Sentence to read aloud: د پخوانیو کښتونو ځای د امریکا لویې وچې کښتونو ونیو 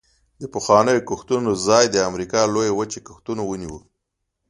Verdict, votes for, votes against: accepted, 2, 0